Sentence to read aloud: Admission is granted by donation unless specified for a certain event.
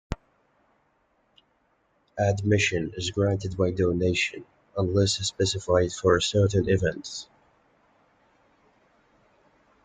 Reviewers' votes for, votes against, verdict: 0, 2, rejected